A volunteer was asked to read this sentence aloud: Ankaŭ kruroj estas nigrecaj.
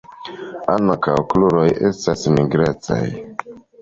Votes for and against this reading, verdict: 2, 0, accepted